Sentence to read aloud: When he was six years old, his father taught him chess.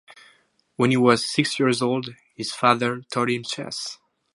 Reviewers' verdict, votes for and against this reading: accepted, 4, 0